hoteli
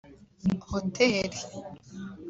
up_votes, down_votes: 3, 0